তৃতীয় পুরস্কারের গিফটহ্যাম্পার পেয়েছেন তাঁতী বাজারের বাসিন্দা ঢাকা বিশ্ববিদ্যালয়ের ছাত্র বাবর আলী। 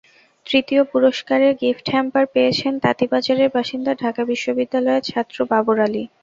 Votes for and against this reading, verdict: 2, 0, accepted